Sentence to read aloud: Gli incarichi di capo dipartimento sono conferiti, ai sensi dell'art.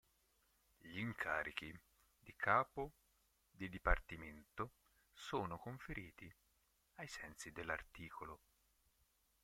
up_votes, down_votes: 0, 4